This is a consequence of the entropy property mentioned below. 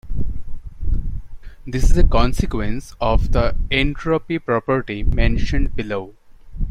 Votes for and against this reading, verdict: 2, 0, accepted